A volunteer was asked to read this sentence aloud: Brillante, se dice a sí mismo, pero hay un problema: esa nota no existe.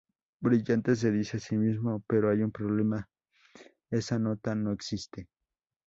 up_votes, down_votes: 2, 0